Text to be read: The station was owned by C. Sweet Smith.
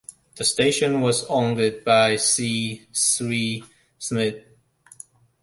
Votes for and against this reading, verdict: 1, 2, rejected